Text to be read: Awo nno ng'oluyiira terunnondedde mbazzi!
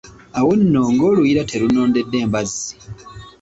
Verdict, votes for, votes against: accepted, 2, 0